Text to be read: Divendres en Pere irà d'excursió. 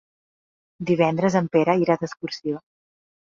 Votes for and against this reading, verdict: 3, 0, accepted